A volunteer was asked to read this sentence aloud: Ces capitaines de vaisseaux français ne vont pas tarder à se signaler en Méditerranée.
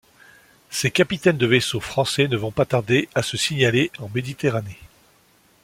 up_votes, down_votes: 2, 0